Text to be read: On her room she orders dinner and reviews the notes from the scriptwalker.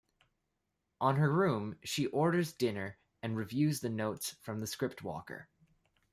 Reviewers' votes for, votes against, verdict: 2, 1, accepted